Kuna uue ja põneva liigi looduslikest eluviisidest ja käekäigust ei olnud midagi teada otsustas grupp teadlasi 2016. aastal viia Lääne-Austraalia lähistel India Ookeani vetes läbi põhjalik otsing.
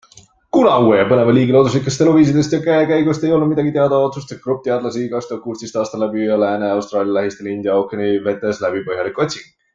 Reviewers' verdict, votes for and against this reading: rejected, 0, 2